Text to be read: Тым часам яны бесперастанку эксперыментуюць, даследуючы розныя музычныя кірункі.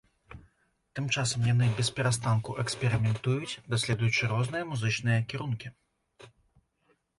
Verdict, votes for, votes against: accepted, 2, 0